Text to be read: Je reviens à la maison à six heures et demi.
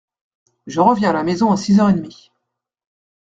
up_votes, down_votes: 0, 2